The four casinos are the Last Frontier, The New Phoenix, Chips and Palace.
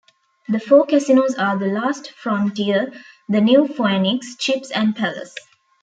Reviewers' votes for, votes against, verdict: 2, 0, accepted